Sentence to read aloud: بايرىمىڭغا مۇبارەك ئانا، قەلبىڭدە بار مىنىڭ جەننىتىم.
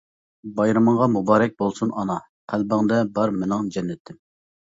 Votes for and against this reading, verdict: 0, 2, rejected